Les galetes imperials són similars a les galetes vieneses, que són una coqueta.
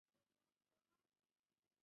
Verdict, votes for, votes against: rejected, 0, 2